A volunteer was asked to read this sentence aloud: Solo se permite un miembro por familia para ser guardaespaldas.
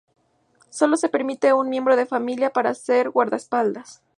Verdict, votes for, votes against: rejected, 0, 2